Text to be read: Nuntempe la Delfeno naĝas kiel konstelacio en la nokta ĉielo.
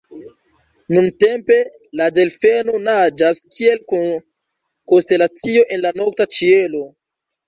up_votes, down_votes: 0, 3